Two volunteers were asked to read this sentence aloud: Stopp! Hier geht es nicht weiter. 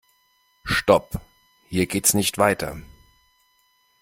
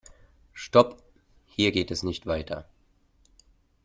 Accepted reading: second